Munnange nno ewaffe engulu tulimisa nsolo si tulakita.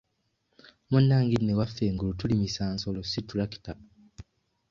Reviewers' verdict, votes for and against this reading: accepted, 2, 0